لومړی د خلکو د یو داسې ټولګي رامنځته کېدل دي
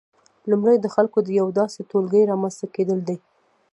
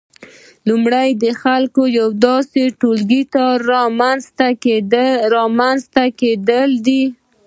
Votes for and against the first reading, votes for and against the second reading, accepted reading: 2, 1, 0, 2, first